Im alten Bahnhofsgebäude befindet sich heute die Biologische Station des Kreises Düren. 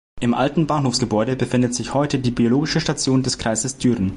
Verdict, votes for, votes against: accepted, 2, 0